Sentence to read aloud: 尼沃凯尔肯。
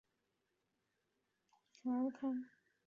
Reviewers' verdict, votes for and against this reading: rejected, 0, 4